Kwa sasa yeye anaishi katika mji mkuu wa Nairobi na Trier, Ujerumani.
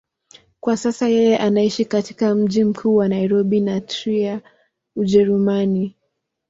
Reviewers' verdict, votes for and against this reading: accepted, 3, 0